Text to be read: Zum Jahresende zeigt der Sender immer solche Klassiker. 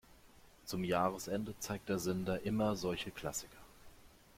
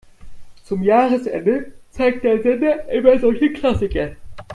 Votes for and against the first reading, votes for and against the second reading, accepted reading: 2, 0, 1, 2, first